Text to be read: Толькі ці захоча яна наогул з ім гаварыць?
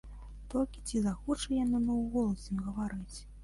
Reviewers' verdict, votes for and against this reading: accepted, 2, 1